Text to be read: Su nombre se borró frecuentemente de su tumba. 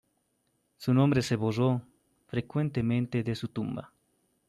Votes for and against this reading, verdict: 2, 1, accepted